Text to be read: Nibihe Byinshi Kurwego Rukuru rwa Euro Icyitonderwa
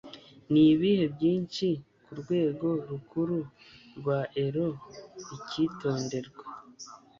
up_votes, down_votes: 2, 0